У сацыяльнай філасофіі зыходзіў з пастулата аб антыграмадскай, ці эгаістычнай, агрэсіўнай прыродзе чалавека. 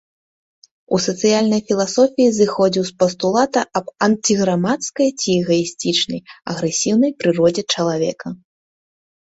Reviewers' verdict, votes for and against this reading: rejected, 1, 2